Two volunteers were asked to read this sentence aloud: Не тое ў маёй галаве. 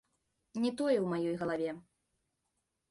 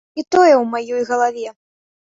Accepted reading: first